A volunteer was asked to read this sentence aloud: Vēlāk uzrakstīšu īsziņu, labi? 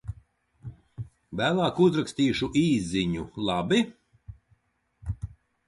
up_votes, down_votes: 2, 0